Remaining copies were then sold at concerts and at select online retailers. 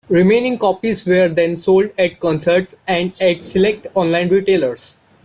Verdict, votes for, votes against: accepted, 2, 1